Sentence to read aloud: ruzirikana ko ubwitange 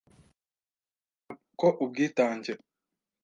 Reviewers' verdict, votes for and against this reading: rejected, 1, 2